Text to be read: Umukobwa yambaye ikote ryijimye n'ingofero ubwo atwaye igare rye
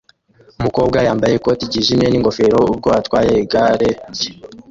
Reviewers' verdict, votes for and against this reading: rejected, 0, 2